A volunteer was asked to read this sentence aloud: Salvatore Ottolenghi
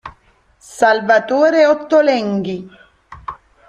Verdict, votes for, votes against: accepted, 2, 0